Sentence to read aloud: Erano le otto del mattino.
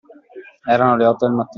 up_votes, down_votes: 0, 2